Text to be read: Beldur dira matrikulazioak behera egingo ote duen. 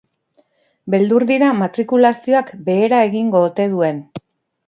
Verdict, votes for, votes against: accepted, 4, 0